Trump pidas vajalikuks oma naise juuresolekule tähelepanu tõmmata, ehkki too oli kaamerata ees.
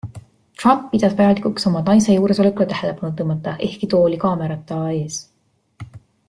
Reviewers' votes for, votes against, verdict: 3, 0, accepted